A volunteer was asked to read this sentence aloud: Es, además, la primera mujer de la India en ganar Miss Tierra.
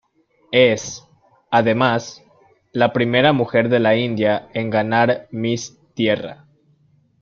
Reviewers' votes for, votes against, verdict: 2, 0, accepted